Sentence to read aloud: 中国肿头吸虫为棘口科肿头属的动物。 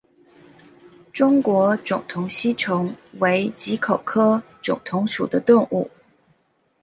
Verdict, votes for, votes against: accepted, 2, 0